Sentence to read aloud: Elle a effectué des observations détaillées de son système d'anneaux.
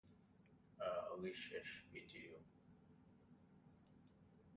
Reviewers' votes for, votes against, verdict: 0, 2, rejected